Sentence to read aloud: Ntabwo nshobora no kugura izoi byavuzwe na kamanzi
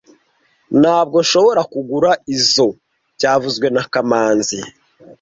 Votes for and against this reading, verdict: 1, 2, rejected